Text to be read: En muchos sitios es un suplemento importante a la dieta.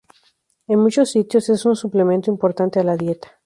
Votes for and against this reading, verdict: 4, 0, accepted